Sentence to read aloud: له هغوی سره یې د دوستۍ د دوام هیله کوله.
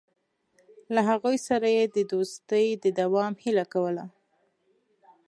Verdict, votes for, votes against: accepted, 2, 0